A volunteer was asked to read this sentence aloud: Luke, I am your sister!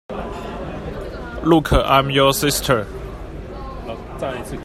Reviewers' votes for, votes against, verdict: 1, 2, rejected